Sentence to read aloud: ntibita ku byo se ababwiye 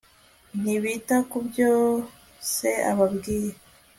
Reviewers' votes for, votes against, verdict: 2, 0, accepted